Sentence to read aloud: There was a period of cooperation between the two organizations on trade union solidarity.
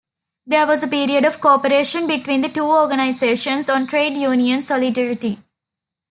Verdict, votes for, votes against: accepted, 2, 0